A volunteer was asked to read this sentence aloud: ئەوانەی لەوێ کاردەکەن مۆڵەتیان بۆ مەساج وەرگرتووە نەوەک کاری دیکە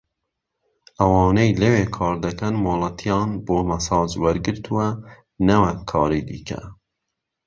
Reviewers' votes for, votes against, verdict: 2, 0, accepted